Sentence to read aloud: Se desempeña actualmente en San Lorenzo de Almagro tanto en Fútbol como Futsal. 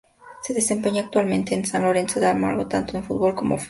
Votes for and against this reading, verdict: 0, 2, rejected